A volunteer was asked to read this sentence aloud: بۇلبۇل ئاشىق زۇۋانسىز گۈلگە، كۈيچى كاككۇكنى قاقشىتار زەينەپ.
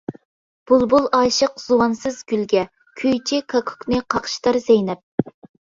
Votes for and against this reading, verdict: 2, 0, accepted